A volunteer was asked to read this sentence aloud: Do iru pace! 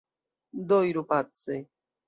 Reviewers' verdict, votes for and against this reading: accepted, 2, 0